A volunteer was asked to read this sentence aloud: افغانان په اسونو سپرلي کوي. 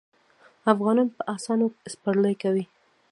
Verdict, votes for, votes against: rejected, 1, 2